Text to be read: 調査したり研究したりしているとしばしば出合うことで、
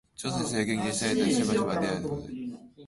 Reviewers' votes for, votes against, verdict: 0, 2, rejected